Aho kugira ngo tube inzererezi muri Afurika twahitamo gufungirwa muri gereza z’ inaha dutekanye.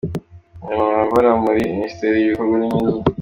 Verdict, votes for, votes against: rejected, 0, 2